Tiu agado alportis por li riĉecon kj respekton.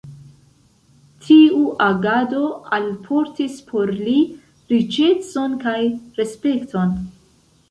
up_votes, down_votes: 2, 0